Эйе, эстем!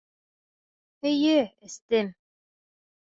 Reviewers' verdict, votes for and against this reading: rejected, 1, 2